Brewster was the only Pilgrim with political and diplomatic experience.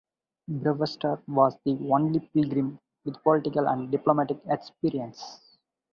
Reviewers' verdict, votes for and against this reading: accepted, 2, 0